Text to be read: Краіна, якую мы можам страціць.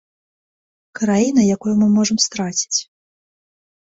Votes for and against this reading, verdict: 2, 0, accepted